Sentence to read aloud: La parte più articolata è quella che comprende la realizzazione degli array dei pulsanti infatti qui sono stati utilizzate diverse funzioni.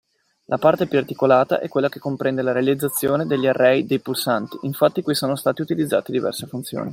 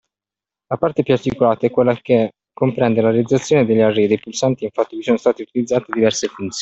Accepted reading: first